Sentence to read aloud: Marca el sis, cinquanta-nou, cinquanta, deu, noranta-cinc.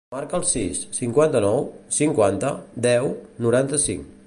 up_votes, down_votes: 2, 0